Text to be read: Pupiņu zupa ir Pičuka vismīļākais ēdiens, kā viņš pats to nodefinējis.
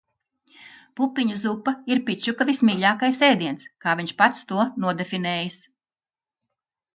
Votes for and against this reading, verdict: 2, 0, accepted